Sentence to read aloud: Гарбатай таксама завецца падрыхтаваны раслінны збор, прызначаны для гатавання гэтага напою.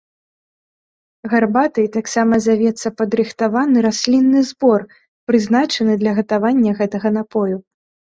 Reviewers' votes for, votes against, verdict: 2, 0, accepted